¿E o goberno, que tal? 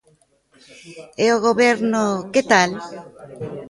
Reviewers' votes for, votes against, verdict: 2, 0, accepted